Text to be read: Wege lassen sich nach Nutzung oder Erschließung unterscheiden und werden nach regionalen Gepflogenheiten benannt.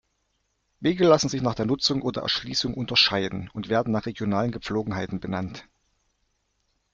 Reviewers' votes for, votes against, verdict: 1, 2, rejected